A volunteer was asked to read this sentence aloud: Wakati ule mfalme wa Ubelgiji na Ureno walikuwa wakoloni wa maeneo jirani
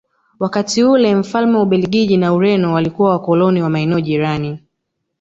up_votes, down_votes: 1, 2